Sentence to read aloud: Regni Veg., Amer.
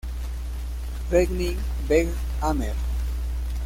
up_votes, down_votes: 0, 2